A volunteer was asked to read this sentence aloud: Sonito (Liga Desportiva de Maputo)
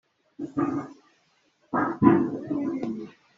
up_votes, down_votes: 0, 2